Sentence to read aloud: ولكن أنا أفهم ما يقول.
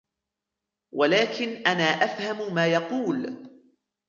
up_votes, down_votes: 2, 0